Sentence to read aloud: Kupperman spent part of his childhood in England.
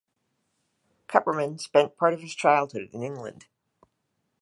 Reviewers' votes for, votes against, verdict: 1, 2, rejected